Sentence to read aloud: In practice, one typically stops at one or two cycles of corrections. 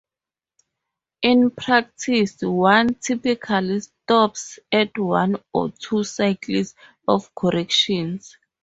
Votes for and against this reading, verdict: 2, 4, rejected